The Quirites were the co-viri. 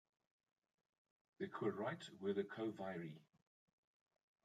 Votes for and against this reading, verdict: 0, 2, rejected